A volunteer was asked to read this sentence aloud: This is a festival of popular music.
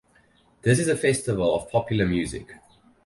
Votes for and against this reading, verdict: 8, 0, accepted